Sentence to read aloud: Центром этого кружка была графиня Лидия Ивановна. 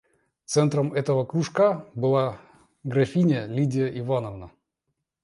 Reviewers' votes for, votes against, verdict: 2, 0, accepted